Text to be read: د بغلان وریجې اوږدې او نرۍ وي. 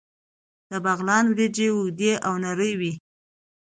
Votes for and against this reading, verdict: 2, 0, accepted